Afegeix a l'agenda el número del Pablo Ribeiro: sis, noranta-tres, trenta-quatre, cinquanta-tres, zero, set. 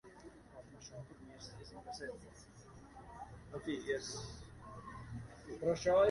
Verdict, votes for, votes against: rejected, 0, 2